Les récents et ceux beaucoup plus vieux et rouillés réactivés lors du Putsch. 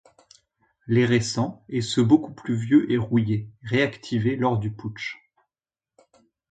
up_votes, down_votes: 2, 0